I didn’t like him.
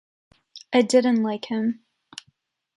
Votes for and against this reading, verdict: 2, 0, accepted